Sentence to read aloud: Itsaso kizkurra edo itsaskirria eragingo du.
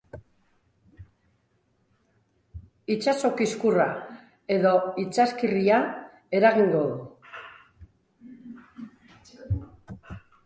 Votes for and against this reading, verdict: 2, 1, accepted